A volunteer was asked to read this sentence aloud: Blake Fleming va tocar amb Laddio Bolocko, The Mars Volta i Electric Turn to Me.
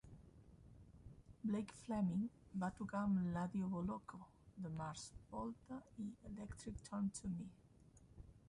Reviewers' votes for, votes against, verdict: 0, 2, rejected